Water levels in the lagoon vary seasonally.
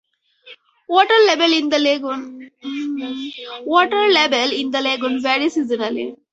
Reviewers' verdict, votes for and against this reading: rejected, 0, 4